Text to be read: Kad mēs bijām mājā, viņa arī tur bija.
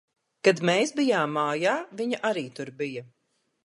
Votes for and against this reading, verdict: 2, 0, accepted